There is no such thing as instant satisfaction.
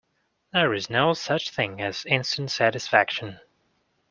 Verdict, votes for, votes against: accepted, 2, 0